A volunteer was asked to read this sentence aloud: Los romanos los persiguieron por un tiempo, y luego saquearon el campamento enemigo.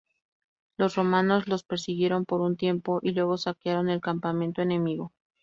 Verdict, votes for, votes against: rejected, 2, 2